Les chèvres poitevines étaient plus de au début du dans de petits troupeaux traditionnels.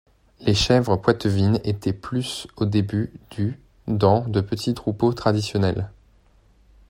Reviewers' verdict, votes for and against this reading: accepted, 2, 1